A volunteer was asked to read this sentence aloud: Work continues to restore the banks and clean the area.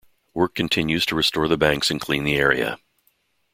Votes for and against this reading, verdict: 2, 0, accepted